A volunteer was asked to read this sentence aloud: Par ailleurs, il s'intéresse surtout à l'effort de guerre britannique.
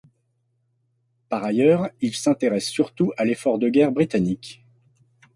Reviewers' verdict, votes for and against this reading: accepted, 2, 0